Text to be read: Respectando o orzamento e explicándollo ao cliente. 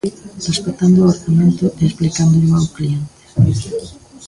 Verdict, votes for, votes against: rejected, 0, 2